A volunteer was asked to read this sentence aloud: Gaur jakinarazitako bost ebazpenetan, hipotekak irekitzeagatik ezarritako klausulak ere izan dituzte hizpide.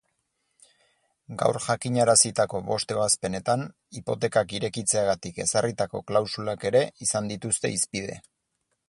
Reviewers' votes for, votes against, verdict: 4, 0, accepted